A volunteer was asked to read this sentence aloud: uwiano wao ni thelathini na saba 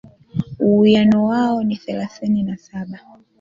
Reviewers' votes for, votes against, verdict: 2, 0, accepted